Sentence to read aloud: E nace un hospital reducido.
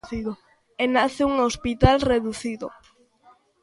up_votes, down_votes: 0, 2